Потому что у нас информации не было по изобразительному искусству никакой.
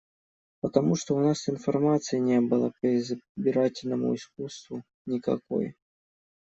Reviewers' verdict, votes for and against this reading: rejected, 0, 2